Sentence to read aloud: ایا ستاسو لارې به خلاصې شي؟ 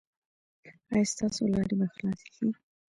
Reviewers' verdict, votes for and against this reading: rejected, 0, 2